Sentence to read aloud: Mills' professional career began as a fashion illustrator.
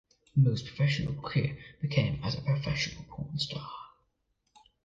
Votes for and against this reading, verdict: 1, 2, rejected